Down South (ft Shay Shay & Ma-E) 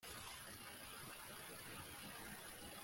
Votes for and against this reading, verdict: 0, 2, rejected